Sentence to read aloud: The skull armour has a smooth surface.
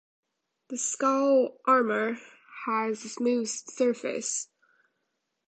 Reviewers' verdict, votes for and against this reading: accepted, 2, 0